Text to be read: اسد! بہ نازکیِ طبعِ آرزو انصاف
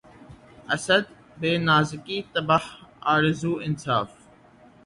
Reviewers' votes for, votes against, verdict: 0, 3, rejected